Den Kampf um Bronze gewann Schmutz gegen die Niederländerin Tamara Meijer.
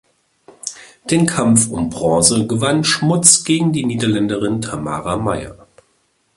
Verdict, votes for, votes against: accepted, 2, 0